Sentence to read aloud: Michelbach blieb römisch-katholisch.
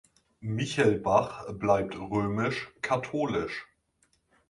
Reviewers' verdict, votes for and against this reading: rejected, 1, 2